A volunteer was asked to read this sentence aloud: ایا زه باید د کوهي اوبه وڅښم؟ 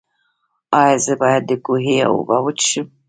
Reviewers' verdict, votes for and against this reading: accepted, 2, 0